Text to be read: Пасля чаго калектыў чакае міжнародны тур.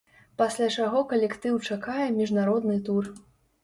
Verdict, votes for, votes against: accepted, 2, 0